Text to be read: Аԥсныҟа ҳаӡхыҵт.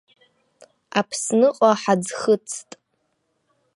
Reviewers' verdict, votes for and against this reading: accepted, 2, 0